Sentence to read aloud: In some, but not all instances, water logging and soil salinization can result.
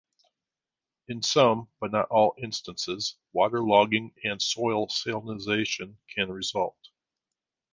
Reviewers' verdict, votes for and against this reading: accepted, 2, 1